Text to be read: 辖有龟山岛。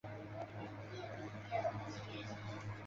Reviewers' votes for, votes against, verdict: 0, 2, rejected